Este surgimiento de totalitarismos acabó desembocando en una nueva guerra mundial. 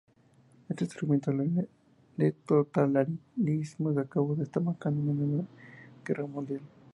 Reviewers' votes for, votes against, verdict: 2, 0, accepted